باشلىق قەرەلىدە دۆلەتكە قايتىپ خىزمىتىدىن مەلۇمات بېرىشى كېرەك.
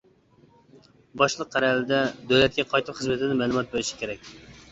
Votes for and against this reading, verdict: 1, 2, rejected